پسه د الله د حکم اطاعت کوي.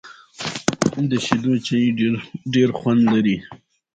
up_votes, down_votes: 1, 2